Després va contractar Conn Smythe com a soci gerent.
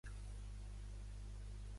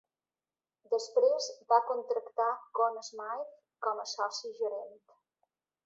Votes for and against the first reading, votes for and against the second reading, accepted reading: 0, 2, 2, 0, second